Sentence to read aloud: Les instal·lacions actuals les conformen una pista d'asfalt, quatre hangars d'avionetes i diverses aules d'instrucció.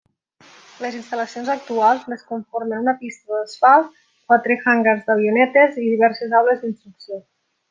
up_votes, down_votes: 1, 2